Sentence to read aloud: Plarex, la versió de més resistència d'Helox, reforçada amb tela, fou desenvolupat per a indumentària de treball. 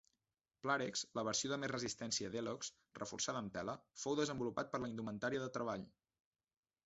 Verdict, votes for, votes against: rejected, 0, 2